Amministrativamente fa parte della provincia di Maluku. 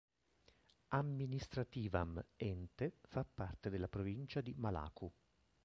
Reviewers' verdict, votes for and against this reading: rejected, 0, 3